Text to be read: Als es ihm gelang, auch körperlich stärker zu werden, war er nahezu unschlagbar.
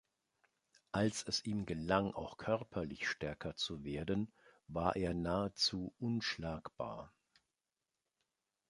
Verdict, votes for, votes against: accepted, 2, 0